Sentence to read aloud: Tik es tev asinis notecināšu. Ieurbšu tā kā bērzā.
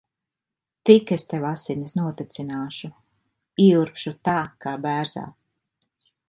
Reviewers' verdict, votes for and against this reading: accepted, 2, 0